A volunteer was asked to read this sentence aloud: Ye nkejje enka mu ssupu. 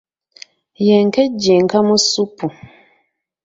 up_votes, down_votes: 1, 2